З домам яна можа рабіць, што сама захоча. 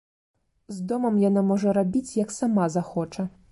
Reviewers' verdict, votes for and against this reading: rejected, 0, 2